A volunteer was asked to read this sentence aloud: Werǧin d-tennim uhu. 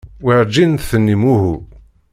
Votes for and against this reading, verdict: 3, 0, accepted